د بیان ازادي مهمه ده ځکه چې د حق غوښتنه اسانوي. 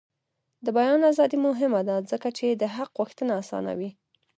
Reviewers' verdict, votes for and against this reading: accepted, 2, 0